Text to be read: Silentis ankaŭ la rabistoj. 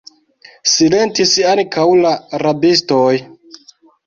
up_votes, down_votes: 1, 2